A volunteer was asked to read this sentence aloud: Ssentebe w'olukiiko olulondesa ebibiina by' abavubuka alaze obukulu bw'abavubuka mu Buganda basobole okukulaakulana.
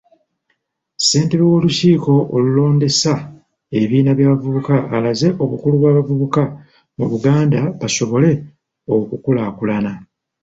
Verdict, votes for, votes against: accepted, 2, 0